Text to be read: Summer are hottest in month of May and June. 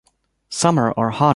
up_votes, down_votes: 2, 0